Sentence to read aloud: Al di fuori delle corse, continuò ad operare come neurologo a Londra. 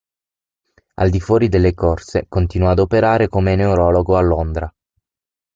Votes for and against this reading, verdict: 6, 0, accepted